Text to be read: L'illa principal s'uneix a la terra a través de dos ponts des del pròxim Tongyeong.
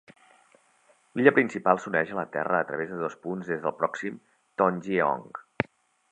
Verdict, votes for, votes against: rejected, 0, 2